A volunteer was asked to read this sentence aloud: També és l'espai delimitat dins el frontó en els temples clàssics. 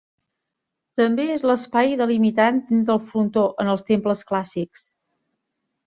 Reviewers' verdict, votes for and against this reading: rejected, 1, 2